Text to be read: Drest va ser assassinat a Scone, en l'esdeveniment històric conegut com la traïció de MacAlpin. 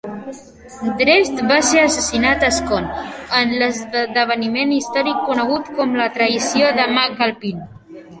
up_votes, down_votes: 1, 2